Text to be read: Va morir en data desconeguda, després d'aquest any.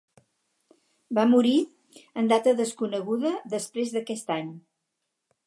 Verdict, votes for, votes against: accepted, 2, 0